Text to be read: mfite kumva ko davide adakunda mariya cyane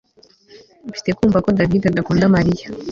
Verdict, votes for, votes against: rejected, 1, 2